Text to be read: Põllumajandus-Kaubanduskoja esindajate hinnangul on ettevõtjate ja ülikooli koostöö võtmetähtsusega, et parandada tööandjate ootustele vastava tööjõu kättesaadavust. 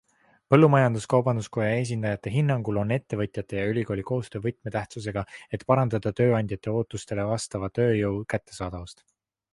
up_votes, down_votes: 2, 1